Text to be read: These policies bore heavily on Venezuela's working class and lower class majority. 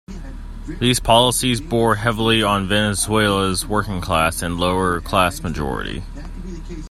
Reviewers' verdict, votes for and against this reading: accepted, 2, 1